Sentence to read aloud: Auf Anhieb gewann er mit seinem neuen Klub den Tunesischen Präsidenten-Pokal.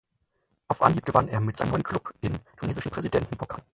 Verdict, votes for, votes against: rejected, 2, 4